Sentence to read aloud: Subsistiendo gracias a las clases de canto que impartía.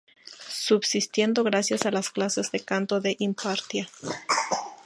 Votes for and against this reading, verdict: 2, 0, accepted